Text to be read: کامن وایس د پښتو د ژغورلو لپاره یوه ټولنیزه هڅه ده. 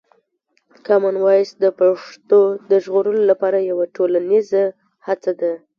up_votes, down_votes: 2, 0